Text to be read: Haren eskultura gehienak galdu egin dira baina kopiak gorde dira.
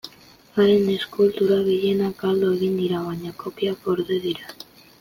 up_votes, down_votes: 2, 0